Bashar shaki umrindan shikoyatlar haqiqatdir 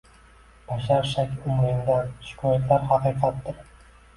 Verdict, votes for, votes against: accepted, 2, 0